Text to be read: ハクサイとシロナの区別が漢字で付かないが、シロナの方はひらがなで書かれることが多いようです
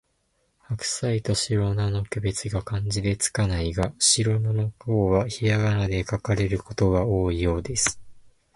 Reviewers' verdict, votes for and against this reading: accepted, 2, 0